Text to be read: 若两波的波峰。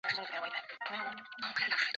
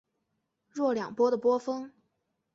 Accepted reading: second